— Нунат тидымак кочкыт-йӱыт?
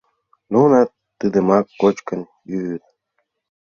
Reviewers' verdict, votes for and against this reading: rejected, 1, 5